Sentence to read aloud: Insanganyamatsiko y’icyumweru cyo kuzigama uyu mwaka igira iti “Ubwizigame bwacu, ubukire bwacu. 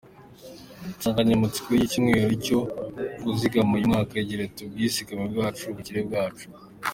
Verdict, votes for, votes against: accepted, 2, 1